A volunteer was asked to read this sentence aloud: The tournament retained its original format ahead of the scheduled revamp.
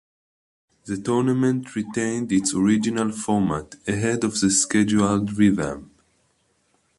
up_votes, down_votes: 2, 0